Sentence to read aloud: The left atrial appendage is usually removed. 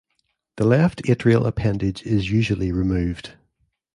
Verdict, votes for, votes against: accepted, 2, 0